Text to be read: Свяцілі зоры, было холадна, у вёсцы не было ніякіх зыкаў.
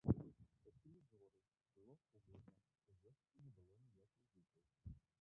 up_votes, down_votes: 0, 2